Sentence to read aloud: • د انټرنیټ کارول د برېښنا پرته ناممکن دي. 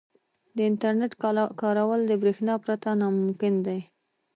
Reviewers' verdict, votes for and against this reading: accepted, 2, 0